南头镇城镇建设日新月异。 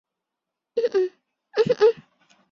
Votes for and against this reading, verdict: 0, 2, rejected